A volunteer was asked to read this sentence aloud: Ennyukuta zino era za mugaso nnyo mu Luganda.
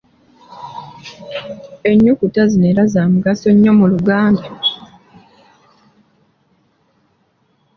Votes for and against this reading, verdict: 2, 0, accepted